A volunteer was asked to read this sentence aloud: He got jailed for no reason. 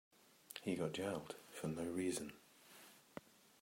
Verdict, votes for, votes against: accepted, 2, 0